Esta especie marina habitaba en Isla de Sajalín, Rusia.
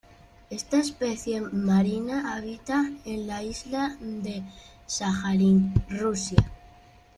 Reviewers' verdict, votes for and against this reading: rejected, 0, 2